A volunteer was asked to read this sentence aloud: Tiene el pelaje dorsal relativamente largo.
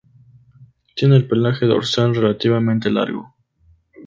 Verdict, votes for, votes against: accepted, 2, 0